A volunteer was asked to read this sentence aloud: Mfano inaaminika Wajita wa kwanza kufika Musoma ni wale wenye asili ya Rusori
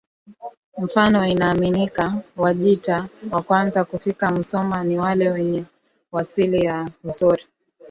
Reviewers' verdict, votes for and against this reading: rejected, 0, 2